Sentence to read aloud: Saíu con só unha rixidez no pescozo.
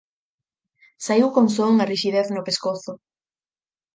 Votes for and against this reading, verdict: 4, 0, accepted